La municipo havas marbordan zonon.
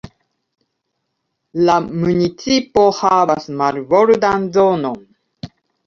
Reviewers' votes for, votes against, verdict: 1, 2, rejected